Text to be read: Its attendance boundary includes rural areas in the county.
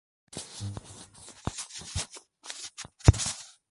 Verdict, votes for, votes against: rejected, 0, 2